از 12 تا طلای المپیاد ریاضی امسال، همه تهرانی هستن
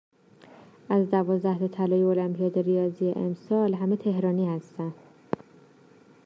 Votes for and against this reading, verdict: 0, 2, rejected